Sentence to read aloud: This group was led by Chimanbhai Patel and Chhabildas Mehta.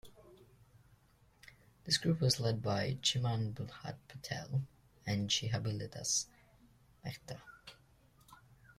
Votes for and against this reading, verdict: 1, 3, rejected